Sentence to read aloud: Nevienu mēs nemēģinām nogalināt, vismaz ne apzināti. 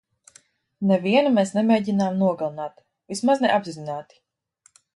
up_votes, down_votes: 2, 0